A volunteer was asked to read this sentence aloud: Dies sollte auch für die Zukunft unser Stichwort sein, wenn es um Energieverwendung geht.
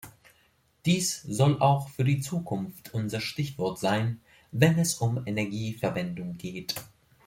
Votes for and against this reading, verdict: 1, 3, rejected